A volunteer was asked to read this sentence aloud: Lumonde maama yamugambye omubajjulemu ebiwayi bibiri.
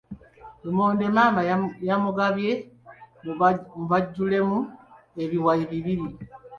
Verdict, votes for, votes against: rejected, 1, 2